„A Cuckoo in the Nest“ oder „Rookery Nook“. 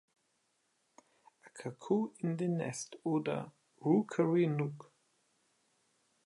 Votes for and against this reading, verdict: 2, 0, accepted